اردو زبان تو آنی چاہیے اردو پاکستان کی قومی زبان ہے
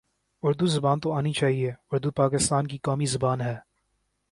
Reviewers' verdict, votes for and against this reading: accepted, 2, 0